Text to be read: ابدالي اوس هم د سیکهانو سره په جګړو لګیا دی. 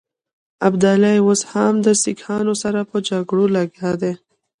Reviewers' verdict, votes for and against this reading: rejected, 1, 2